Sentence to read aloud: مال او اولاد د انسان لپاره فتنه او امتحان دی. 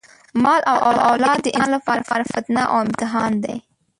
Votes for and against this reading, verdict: 1, 2, rejected